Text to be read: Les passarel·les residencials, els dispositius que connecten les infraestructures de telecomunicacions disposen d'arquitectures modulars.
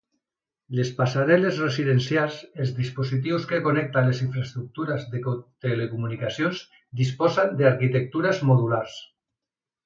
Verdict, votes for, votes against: rejected, 0, 2